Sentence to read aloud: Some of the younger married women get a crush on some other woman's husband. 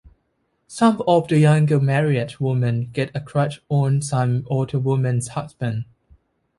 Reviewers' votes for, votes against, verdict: 2, 0, accepted